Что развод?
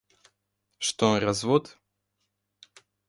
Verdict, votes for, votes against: accepted, 2, 0